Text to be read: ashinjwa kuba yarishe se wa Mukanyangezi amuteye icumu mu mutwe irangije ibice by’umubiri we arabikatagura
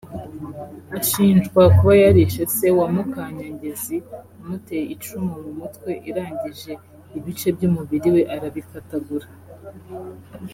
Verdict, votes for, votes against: accepted, 2, 0